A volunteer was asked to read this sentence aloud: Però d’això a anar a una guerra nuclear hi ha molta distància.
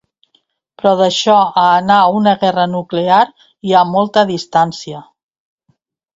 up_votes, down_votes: 2, 0